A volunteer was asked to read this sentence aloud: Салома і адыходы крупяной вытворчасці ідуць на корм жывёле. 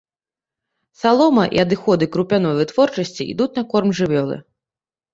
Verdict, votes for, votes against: rejected, 0, 2